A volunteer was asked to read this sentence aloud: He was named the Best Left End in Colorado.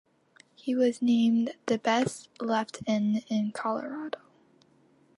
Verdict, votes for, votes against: accepted, 3, 0